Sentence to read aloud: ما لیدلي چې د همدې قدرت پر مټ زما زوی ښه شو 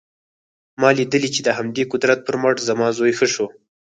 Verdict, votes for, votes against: rejected, 0, 4